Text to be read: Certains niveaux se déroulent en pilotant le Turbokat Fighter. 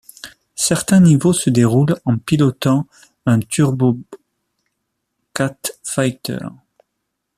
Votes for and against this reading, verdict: 0, 2, rejected